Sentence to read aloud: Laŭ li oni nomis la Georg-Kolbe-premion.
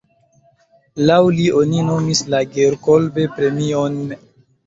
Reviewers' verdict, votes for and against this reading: accepted, 2, 1